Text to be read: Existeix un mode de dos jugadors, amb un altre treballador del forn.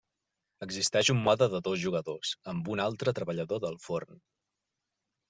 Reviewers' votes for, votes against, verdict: 3, 0, accepted